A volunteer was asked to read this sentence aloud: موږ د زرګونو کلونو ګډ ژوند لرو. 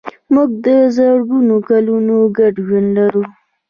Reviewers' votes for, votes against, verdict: 1, 2, rejected